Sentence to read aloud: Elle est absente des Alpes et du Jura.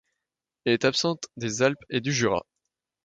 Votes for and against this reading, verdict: 2, 0, accepted